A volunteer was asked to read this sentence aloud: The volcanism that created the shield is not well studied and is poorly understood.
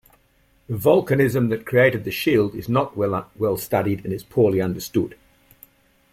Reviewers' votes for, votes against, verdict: 0, 2, rejected